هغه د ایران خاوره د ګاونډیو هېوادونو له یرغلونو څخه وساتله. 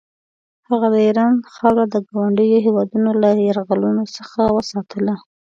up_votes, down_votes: 2, 0